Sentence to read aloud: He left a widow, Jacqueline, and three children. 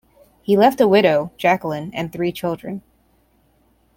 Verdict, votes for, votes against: accepted, 2, 0